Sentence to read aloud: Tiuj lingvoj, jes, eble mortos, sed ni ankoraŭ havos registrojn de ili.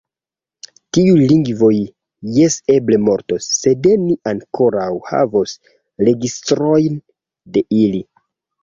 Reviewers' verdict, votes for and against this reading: accepted, 2, 0